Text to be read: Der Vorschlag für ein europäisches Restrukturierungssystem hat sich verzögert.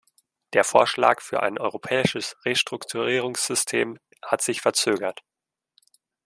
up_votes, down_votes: 2, 0